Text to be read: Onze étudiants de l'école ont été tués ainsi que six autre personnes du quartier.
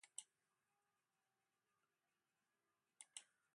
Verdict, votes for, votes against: rejected, 0, 2